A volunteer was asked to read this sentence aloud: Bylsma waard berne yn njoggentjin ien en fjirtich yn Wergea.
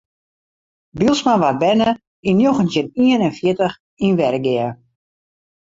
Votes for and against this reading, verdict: 2, 0, accepted